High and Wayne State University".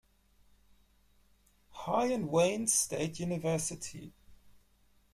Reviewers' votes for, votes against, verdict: 2, 0, accepted